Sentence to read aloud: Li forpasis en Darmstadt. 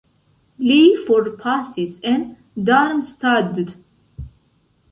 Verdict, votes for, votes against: accepted, 2, 0